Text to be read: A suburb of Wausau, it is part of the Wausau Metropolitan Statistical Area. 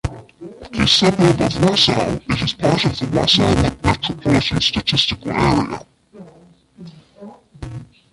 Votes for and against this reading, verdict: 1, 2, rejected